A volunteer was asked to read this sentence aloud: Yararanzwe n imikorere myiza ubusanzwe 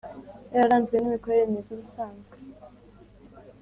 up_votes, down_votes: 3, 0